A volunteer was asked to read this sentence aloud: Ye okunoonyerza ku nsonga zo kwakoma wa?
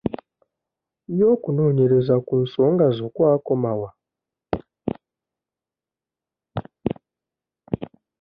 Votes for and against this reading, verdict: 2, 0, accepted